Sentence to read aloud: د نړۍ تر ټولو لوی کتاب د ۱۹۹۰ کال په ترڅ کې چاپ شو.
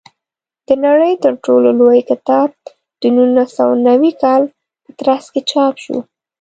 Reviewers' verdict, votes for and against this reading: rejected, 0, 2